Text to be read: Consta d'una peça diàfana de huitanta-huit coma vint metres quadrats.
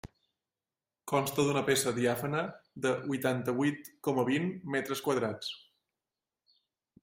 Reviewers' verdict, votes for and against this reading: accepted, 2, 0